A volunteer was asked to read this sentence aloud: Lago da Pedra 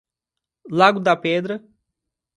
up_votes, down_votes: 2, 0